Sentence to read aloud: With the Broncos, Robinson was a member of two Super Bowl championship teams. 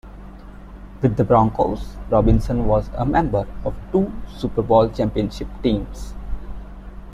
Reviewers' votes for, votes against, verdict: 2, 0, accepted